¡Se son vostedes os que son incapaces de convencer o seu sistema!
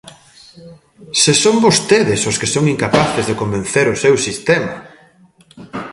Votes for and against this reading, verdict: 1, 2, rejected